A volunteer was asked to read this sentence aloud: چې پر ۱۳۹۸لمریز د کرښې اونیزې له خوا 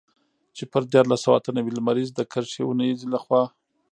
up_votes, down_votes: 0, 2